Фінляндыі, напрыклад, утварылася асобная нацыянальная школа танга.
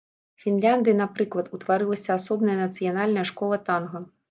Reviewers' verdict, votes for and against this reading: accepted, 2, 0